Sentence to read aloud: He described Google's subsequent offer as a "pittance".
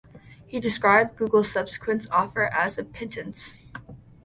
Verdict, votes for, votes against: accepted, 2, 0